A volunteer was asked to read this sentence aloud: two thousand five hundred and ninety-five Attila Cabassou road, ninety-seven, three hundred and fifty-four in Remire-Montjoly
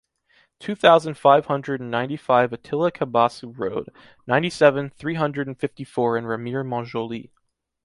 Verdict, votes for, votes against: accepted, 2, 0